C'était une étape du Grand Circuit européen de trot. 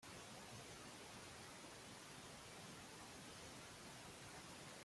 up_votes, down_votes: 0, 2